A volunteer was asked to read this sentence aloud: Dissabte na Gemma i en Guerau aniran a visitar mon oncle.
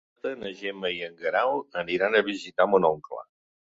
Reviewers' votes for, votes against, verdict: 1, 2, rejected